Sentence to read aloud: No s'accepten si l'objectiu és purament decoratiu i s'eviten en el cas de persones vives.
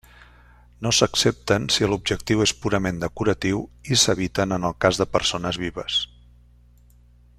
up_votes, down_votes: 1, 2